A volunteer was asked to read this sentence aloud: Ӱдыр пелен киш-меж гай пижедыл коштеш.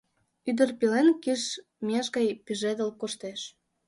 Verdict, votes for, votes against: rejected, 1, 2